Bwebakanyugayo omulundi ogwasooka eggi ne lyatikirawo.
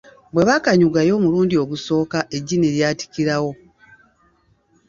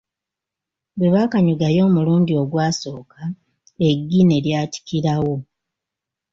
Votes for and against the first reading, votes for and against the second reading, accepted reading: 1, 2, 2, 0, second